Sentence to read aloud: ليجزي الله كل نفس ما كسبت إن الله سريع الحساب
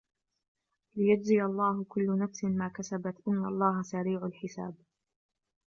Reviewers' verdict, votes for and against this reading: rejected, 1, 2